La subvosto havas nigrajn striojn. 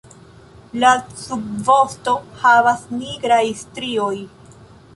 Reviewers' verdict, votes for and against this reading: rejected, 0, 2